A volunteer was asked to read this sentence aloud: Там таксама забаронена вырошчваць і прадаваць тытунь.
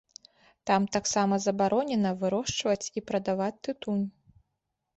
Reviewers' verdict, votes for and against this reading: rejected, 0, 2